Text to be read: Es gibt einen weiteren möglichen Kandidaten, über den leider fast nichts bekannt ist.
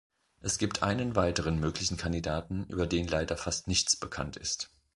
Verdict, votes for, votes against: accepted, 2, 0